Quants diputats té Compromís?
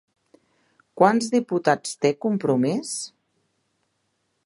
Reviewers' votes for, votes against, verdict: 2, 0, accepted